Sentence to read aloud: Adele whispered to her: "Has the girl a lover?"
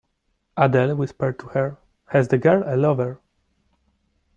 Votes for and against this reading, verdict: 2, 0, accepted